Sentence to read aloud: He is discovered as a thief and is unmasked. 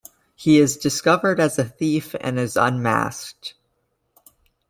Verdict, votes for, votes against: accepted, 2, 0